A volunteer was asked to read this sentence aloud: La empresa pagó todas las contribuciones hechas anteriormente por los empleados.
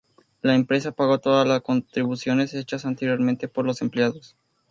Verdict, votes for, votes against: accepted, 2, 0